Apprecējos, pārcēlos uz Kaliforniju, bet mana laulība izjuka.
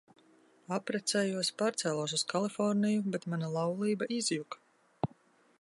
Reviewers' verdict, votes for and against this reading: accepted, 2, 0